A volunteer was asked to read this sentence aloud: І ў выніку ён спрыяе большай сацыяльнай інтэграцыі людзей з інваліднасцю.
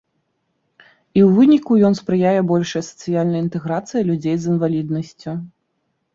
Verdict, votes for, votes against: accepted, 2, 0